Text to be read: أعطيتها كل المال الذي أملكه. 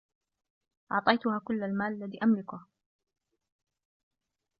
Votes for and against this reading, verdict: 2, 0, accepted